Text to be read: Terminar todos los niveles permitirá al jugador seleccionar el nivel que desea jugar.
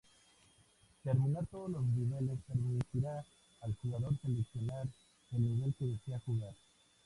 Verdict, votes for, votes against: rejected, 0, 4